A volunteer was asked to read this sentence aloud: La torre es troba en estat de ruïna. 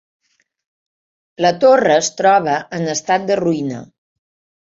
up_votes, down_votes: 3, 0